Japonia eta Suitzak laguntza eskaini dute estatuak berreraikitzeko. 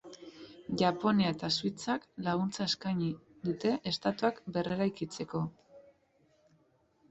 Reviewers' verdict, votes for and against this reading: accepted, 2, 0